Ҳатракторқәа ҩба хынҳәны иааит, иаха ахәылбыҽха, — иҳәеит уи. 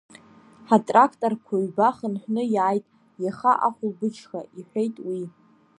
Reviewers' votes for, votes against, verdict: 2, 0, accepted